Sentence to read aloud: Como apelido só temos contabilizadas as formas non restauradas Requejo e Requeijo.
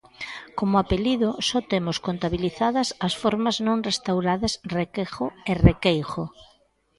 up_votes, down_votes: 1, 2